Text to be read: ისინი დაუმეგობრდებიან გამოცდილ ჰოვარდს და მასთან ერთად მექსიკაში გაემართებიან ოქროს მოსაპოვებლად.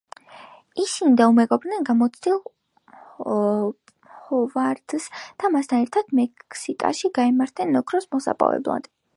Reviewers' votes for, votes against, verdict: 0, 2, rejected